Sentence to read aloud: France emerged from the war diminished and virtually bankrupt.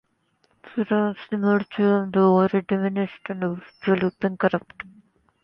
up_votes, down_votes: 0, 2